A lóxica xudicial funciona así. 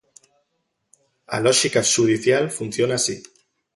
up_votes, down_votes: 3, 0